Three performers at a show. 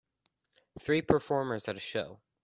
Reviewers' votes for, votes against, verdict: 2, 0, accepted